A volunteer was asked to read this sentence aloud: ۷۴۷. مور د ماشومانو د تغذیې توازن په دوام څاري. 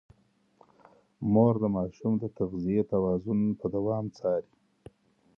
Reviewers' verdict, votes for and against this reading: rejected, 0, 2